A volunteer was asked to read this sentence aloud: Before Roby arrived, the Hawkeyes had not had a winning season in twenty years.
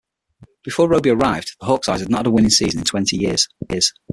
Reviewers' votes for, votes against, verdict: 0, 6, rejected